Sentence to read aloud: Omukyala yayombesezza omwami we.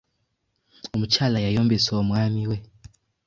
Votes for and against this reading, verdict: 1, 2, rejected